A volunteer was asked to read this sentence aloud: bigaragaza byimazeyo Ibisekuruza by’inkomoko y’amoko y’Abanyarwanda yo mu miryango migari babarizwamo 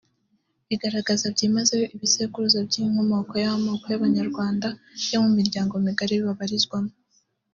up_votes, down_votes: 2, 0